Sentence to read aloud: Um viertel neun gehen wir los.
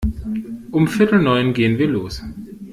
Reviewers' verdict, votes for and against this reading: accepted, 2, 0